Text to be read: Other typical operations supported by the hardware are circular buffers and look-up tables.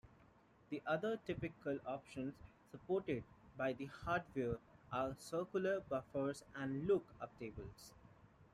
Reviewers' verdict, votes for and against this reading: rejected, 1, 2